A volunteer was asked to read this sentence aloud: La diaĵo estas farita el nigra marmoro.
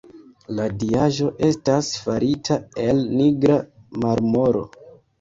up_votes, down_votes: 0, 2